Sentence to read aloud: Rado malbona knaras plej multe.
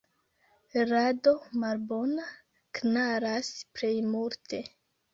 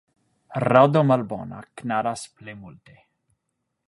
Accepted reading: second